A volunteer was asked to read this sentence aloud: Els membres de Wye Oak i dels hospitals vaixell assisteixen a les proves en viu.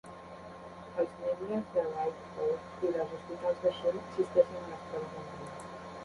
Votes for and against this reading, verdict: 0, 3, rejected